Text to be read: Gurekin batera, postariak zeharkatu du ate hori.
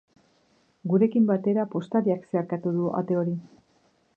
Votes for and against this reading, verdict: 2, 0, accepted